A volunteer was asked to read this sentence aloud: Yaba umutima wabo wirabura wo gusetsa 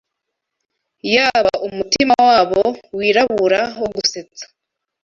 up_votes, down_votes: 2, 0